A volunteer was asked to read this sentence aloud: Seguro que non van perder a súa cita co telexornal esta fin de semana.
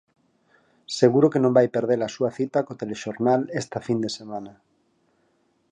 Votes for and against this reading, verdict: 0, 4, rejected